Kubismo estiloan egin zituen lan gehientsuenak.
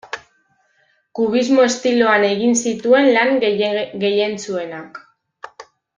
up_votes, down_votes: 0, 2